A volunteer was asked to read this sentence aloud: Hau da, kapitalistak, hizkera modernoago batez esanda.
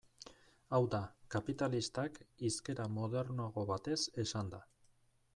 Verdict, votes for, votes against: rejected, 0, 2